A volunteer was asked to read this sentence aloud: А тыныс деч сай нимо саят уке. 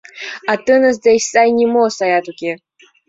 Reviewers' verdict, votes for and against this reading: accepted, 2, 0